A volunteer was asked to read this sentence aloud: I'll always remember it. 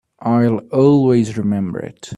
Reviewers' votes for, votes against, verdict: 2, 0, accepted